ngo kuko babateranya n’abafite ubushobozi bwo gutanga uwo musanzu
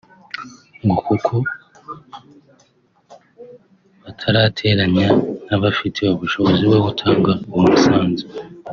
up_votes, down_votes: 1, 2